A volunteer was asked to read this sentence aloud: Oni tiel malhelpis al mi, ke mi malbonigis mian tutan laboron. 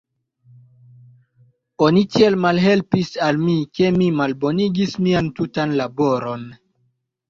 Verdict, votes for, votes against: rejected, 1, 2